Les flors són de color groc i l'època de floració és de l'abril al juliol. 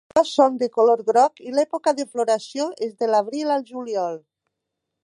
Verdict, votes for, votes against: rejected, 1, 2